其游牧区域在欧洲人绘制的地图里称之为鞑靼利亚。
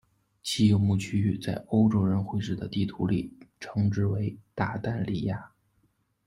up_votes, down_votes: 2, 0